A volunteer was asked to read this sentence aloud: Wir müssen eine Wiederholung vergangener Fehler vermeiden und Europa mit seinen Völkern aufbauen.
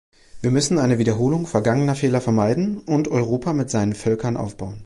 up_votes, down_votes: 2, 0